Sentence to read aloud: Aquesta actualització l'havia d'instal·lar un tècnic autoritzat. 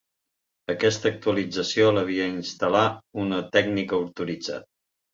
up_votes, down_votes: 0, 3